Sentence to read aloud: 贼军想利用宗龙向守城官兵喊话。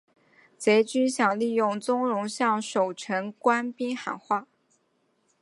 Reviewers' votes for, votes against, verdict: 2, 0, accepted